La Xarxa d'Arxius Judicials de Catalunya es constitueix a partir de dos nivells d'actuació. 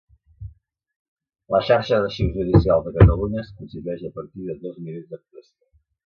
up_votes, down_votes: 1, 2